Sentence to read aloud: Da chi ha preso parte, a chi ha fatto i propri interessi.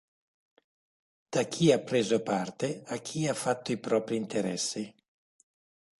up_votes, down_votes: 2, 0